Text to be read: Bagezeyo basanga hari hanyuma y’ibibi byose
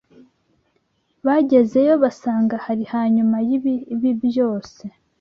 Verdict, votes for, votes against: accepted, 2, 0